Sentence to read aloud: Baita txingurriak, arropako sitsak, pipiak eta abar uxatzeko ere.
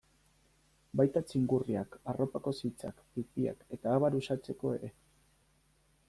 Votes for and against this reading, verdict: 1, 3, rejected